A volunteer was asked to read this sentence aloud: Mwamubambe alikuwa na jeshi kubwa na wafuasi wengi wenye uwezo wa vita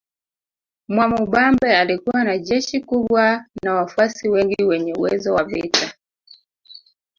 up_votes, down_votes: 0, 2